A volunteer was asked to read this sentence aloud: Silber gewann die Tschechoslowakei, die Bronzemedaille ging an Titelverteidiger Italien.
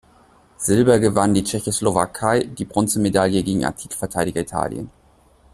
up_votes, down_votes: 1, 2